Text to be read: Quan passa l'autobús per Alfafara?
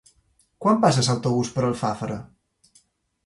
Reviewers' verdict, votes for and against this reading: rejected, 1, 2